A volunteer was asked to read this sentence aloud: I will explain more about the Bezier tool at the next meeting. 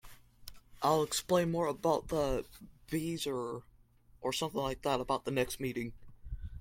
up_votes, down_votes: 0, 2